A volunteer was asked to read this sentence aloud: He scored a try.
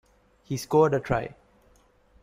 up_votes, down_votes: 2, 0